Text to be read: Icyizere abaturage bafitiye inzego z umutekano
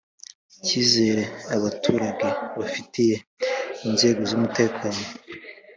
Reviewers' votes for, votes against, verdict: 2, 0, accepted